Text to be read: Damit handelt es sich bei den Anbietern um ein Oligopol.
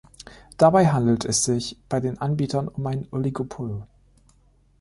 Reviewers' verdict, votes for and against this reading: rejected, 0, 2